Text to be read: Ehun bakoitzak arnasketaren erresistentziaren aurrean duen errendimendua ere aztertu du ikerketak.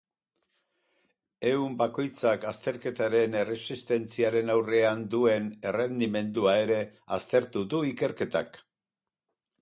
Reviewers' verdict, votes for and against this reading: rejected, 2, 4